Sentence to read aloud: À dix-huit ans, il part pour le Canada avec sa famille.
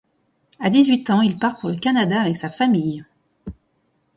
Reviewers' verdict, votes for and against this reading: accepted, 2, 0